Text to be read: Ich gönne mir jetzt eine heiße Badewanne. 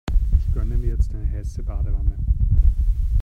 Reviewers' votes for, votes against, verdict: 0, 2, rejected